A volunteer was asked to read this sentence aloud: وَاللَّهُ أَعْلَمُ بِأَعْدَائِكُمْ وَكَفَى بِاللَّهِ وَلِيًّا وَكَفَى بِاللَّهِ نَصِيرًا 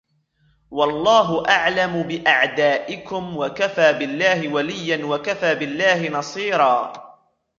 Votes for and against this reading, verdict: 0, 2, rejected